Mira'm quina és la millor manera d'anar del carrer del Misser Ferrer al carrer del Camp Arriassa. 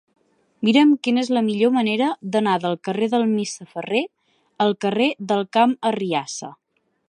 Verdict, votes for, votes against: accepted, 2, 1